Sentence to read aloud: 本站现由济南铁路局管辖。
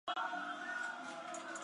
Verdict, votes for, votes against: rejected, 0, 3